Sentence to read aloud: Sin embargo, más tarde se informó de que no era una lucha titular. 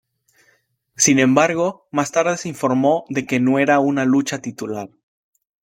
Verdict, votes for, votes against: accepted, 2, 1